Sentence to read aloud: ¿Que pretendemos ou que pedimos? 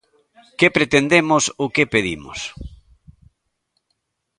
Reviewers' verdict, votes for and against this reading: accepted, 2, 0